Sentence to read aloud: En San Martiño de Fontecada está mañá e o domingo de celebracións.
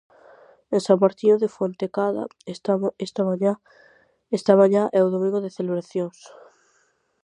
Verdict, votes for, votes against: rejected, 0, 4